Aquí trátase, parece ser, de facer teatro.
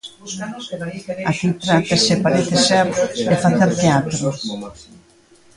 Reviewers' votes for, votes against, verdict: 0, 2, rejected